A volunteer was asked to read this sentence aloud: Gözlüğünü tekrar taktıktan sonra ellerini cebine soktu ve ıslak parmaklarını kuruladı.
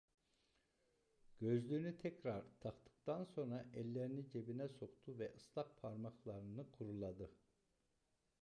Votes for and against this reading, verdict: 1, 2, rejected